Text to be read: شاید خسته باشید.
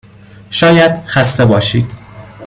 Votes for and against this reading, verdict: 2, 0, accepted